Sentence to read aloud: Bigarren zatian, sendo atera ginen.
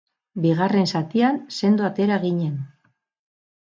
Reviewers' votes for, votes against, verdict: 2, 0, accepted